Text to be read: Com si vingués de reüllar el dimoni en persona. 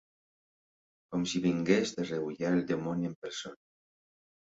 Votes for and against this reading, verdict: 3, 0, accepted